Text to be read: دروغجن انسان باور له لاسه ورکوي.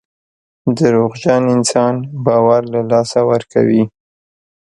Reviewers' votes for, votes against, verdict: 2, 0, accepted